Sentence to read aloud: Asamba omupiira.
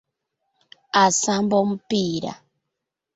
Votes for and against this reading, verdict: 2, 0, accepted